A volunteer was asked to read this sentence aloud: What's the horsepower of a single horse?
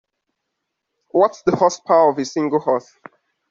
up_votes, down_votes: 2, 0